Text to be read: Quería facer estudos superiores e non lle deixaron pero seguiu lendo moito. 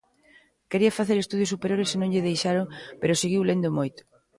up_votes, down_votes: 2, 0